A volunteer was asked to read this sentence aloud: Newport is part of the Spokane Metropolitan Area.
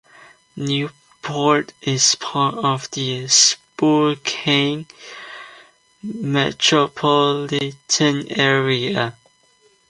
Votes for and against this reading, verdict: 1, 2, rejected